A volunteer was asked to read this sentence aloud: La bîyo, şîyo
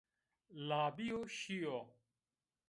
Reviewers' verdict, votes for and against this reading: accepted, 2, 1